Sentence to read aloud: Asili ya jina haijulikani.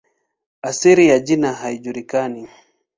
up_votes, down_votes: 10, 7